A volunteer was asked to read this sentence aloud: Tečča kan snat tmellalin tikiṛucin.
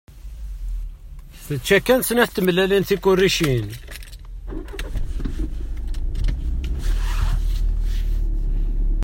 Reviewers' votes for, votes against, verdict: 0, 2, rejected